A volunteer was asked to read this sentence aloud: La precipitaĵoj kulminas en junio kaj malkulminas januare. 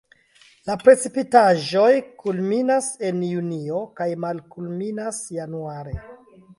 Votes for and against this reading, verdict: 2, 0, accepted